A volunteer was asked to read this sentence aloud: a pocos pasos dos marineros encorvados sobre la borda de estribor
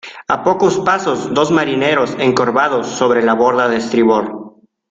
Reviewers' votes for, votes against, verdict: 2, 0, accepted